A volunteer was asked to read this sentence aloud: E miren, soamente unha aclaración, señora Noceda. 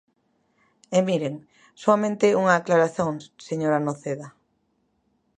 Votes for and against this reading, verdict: 0, 3, rejected